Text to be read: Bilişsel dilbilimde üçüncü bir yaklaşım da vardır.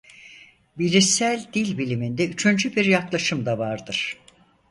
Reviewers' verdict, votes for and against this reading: rejected, 0, 4